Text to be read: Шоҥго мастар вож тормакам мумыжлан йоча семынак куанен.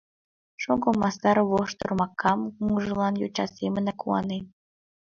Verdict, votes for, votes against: accepted, 2, 0